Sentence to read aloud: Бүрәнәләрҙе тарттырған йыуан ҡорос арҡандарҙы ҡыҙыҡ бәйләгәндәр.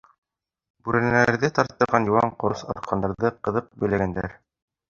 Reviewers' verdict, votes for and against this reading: rejected, 0, 2